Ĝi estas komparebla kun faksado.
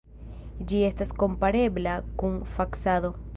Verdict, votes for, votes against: accepted, 2, 1